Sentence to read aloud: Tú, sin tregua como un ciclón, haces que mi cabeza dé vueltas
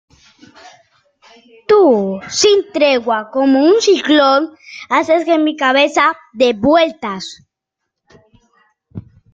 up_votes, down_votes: 2, 0